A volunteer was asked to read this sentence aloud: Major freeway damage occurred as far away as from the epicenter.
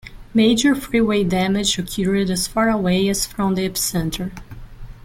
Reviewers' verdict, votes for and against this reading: rejected, 0, 2